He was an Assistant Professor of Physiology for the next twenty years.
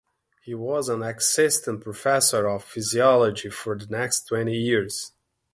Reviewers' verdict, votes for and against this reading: rejected, 0, 2